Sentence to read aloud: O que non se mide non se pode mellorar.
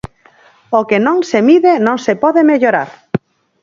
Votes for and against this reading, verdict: 4, 0, accepted